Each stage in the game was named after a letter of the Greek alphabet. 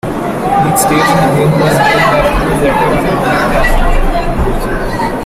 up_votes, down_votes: 0, 2